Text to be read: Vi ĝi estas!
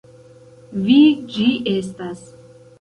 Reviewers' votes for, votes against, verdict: 2, 0, accepted